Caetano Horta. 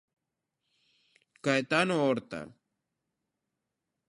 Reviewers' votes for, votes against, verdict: 2, 0, accepted